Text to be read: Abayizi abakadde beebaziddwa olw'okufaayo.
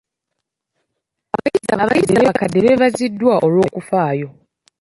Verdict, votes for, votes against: rejected, 0, 2